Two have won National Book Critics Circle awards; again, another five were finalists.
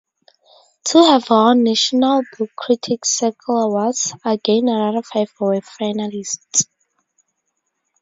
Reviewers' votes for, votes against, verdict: 2, 2, rejected